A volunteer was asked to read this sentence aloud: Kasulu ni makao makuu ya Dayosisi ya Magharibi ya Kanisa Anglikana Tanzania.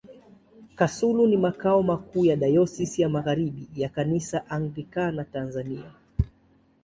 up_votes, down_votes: 2, 0